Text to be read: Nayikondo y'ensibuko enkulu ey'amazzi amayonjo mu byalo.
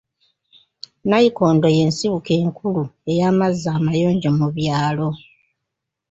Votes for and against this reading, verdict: 0, 2, rejected